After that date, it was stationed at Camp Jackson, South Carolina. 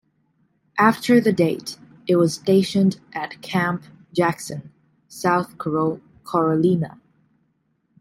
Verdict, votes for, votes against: rejected, 1, 2